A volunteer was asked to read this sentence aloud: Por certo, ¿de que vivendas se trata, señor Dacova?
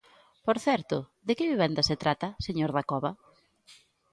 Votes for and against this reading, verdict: 2, 0, accepted